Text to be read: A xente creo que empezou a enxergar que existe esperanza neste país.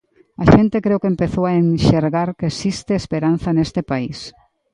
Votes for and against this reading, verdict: 2, 1, accepted